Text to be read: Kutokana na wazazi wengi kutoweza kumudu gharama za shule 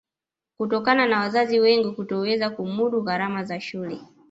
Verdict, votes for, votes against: accepted, 2, 0